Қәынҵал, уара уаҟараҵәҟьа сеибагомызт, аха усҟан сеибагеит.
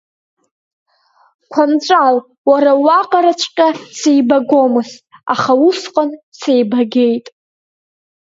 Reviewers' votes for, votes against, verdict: 1, 3, rejected